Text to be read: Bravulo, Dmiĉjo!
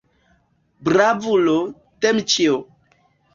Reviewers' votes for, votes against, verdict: 0, 2, rejected